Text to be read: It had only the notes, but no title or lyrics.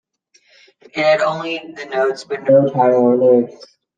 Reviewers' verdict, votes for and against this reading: rejected, 1, 2